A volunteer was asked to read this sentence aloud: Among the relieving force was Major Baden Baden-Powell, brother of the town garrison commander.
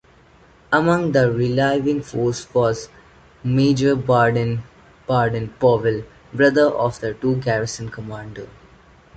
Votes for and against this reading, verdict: 2, 1, accepted